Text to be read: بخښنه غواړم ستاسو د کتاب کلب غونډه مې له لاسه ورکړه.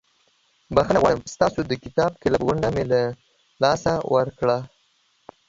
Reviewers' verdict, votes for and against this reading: rejected, 0, 2